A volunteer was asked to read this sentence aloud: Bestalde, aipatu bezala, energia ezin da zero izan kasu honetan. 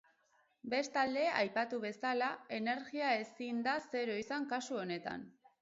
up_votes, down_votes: 2, 2